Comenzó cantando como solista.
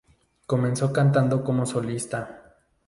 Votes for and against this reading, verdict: 2, 0, accepted